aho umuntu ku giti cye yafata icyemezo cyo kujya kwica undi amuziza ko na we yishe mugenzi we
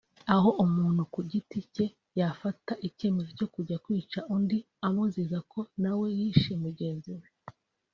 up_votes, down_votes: 1, 2